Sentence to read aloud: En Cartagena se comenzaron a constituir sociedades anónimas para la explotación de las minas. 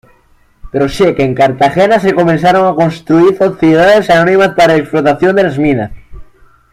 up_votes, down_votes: 2, 0